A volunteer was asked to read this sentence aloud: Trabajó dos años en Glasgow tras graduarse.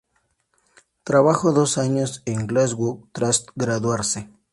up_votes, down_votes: 2, 0